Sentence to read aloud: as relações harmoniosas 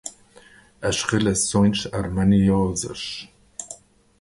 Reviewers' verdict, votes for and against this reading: rejected, 2, 2